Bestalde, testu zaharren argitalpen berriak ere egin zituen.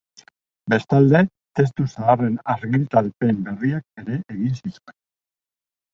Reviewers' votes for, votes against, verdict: 2, 0, accepted